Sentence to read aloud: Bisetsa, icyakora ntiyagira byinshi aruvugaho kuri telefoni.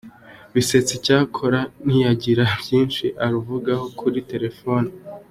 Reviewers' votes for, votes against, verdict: 2, 1, accepted